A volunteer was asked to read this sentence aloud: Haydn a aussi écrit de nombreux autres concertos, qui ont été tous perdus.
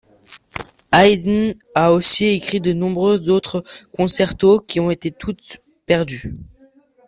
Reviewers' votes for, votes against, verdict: 0, 2, rejected